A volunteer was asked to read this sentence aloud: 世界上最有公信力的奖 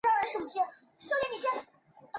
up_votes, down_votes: 0, 2